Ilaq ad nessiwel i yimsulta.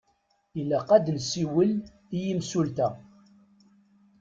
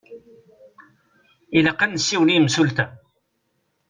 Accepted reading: second